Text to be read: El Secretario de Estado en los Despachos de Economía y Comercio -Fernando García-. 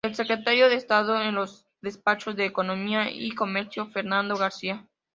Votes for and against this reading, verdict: 2, 0, accepted